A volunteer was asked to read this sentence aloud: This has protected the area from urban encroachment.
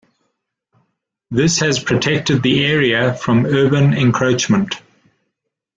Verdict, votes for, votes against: accepted, 2, 0